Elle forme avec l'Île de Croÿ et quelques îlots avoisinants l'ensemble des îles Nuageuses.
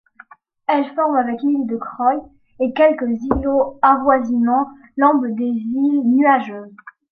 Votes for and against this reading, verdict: 0, 2, rejected